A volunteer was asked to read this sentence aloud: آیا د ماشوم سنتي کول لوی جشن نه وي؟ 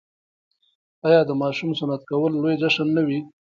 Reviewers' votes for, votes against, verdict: 1, 2, rejected